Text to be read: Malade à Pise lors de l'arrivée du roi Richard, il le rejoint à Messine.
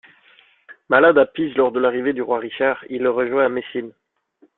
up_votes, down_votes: 2, 0